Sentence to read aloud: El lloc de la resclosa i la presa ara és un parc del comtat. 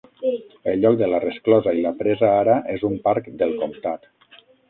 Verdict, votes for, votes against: rejected, 3, 6